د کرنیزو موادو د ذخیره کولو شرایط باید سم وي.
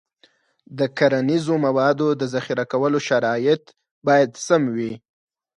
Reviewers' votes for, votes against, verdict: 4, 0, accepted